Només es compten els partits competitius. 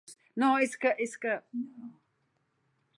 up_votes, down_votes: 0, 2